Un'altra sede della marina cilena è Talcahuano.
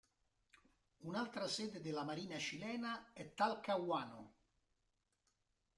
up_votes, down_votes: 2, 0